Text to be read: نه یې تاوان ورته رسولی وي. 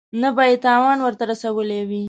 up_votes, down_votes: 2, 0